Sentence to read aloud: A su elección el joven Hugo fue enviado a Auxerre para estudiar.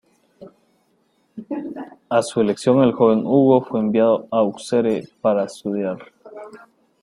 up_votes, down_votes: 1, 2